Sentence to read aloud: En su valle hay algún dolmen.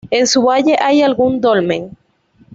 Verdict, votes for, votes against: accepted, 2, 0